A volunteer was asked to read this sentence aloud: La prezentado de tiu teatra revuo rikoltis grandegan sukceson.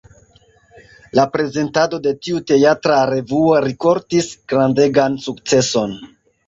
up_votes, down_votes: 1, 2